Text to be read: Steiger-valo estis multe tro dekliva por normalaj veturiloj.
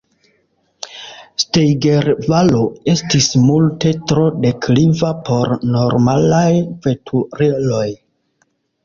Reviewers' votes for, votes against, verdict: 2, 0, accepted